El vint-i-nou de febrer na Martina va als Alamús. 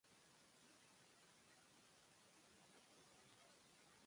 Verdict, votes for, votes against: rejected, 0, 2